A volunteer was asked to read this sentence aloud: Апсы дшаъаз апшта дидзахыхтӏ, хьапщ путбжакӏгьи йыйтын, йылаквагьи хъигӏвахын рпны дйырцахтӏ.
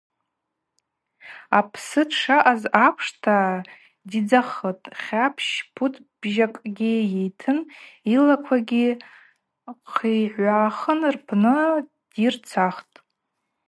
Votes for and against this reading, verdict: 2, 2, rejected